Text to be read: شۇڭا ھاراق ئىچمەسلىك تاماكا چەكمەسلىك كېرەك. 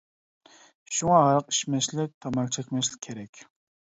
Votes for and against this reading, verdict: 2, 0, accepted